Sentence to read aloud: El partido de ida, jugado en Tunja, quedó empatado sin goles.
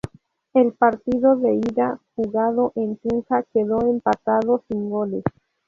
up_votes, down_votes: 0, 2